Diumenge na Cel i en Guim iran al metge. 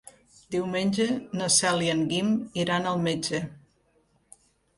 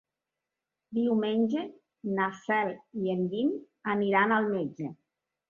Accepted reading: first